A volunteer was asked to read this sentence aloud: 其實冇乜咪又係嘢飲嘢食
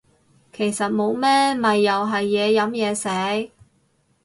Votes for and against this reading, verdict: 0, 4, rejected